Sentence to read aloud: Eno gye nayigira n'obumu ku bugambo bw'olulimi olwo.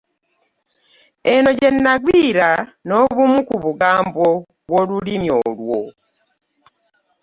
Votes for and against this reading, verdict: 0, 2, rejected